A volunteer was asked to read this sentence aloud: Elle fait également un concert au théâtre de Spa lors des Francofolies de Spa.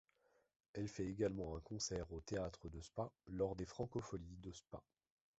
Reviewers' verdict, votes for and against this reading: accepted, 2, 0